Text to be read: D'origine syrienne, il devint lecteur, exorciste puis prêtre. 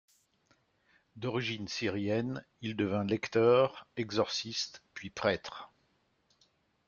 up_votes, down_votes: 2, 0